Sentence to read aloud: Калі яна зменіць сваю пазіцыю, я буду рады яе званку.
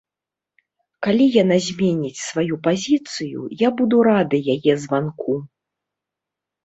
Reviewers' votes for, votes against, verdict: 2, 0, accepted